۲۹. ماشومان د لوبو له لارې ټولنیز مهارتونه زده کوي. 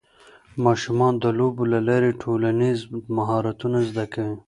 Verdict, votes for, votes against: rejected, 0, 2